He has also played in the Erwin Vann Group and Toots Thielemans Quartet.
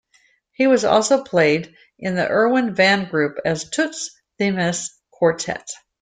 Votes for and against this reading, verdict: 0, 2, rejected